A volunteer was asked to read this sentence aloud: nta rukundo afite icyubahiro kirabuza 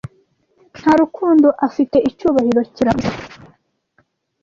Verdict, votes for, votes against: rejected, 1, 2